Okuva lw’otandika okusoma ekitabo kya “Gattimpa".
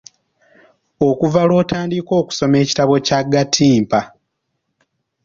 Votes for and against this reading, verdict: 0, 2, rejected